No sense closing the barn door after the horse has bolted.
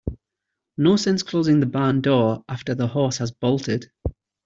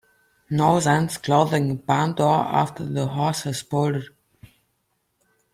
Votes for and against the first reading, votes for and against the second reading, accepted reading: 2, 0, 1, 2, first